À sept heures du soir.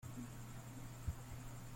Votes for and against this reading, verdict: 1, 2, rejected